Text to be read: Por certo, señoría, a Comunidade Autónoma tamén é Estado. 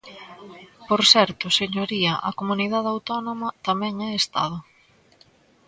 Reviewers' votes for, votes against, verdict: 3, 0, accepted